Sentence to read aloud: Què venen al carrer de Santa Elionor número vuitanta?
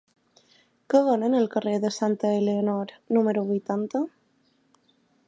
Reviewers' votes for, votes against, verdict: 2, 0, accepted